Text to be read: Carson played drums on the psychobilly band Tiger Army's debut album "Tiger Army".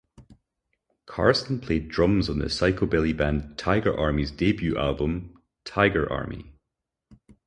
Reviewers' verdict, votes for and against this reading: accepted, 4, 0